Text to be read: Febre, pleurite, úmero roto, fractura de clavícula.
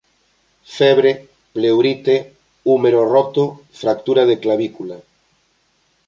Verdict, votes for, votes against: accepted, 2, 0